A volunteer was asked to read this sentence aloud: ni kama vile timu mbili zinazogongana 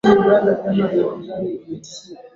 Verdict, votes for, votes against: rejected, 0, 2